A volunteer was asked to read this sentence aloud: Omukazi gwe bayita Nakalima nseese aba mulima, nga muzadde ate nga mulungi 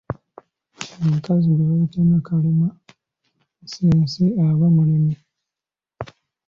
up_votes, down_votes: 1, 2